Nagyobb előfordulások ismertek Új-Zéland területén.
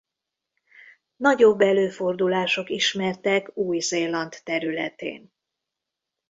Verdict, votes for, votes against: rejected, 1, 2